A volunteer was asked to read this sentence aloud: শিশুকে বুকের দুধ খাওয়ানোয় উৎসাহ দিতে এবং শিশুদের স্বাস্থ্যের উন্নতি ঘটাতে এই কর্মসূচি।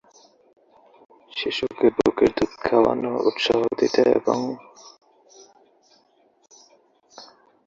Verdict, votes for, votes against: rejected, 0, 2